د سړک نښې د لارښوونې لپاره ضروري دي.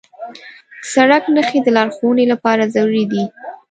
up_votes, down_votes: 1, 2